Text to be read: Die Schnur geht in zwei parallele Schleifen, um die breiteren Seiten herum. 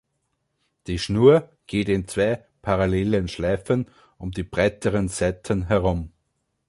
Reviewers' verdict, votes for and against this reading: rejected, 1, 3